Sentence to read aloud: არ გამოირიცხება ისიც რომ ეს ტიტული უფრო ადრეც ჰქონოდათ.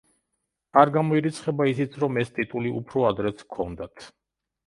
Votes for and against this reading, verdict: 0, 2, rejected